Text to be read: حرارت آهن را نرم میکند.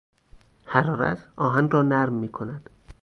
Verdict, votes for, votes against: accepted, 4, 0